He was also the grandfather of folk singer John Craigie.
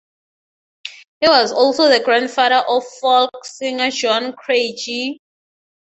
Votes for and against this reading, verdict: 6, 0, accepted